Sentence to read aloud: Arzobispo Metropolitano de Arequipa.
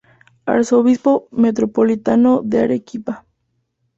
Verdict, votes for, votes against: accepted, 2, 0